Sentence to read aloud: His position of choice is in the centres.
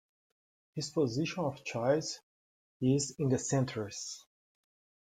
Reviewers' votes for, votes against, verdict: 2, 0, accepted